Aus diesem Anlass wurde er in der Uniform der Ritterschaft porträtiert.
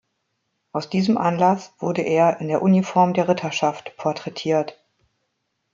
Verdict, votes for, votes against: accepted, 2, 0